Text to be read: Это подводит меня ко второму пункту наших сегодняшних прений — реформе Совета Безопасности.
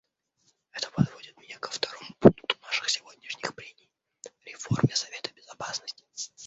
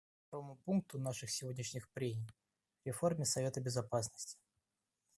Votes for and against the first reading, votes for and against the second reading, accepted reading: 2, 0, 0, 2, first